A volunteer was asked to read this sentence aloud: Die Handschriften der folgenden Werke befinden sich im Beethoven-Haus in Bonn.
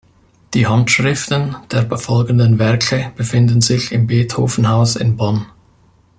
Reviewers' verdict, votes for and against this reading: rejected, 0, 2